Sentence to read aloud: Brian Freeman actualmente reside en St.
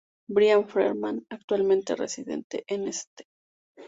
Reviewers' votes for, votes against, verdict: 0, 2, rejected